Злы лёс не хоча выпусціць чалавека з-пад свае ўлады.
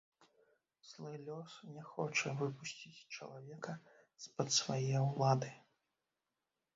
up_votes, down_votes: 0, 2